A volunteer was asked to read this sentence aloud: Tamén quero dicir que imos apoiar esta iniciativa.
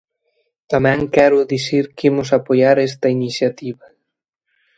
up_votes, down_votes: 2, 0